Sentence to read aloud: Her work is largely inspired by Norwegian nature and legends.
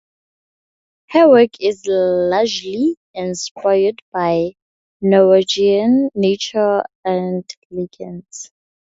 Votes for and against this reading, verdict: 0, 2, rejected